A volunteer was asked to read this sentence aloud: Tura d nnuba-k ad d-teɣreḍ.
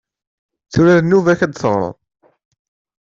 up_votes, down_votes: 2, 0